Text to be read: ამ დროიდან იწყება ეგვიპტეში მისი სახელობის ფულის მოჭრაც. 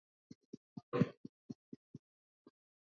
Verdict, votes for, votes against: rejected, 1, 2